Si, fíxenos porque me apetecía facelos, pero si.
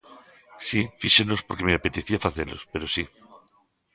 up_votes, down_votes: 2, 0